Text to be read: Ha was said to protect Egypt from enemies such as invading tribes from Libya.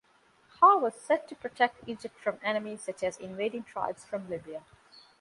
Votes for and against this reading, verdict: 2, 0, accepted